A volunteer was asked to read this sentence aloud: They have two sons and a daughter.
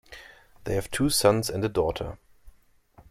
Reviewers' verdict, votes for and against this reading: accepted, 2, 0